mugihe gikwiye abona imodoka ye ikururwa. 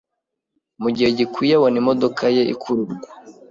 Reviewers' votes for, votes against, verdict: 2, 0, accepted